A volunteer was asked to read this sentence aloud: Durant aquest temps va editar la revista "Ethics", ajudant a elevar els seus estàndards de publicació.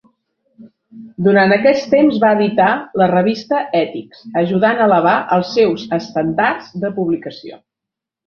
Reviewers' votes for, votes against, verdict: 1, 3, rejected